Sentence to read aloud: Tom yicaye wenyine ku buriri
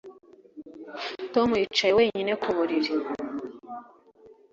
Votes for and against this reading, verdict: 2, 0, accepted